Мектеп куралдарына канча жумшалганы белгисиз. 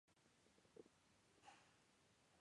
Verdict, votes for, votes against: rejected, 0, 2